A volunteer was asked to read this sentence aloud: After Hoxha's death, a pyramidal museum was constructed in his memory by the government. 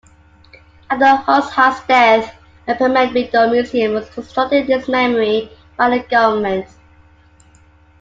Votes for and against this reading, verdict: 2, 1, accepted